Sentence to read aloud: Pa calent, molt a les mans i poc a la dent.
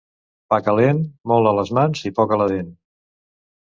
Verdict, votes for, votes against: accepted, 2, 0